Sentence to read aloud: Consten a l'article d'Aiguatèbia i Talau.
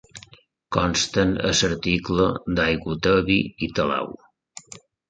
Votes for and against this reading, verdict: 0, 2, rejected